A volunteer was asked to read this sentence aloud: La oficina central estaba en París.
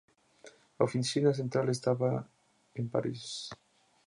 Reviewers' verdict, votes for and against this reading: accepted, 2, 0